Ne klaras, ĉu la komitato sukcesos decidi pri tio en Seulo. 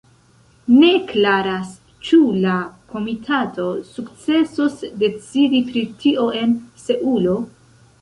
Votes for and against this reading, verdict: 0, 2, rejected